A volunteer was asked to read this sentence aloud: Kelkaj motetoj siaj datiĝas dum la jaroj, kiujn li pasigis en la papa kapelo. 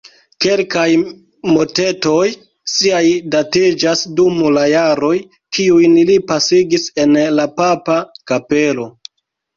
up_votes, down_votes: 2, 0